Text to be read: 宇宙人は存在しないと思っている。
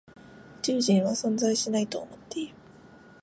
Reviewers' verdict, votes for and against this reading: accepted, 2, 0